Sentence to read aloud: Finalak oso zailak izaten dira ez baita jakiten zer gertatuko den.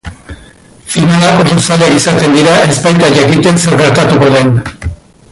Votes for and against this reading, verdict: 0, 2, rejected